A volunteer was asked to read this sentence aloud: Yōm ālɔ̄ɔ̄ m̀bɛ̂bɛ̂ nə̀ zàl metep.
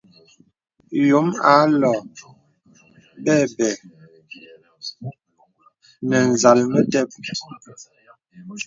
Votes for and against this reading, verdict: 2, 0, accepted